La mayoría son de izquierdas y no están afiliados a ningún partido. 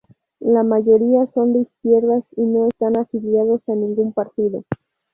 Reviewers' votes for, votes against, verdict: 2, 2, rejected